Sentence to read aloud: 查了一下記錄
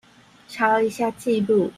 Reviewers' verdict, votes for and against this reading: accepted, 2, 0